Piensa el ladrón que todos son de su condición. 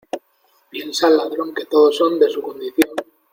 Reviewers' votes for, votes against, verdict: 2, 0, accepted